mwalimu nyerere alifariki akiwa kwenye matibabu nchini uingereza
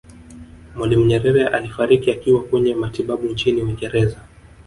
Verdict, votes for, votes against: rejected, 1, 2